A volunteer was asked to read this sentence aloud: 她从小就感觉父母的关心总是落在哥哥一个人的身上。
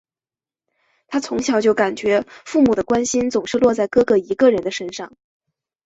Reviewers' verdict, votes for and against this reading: accepted, 5, 0